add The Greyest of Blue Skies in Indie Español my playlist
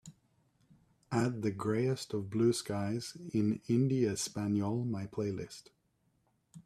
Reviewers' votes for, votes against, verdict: 3, 0, accepted